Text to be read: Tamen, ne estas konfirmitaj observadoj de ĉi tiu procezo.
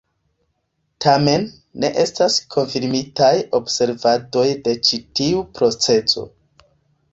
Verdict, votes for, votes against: rejected, 1, 2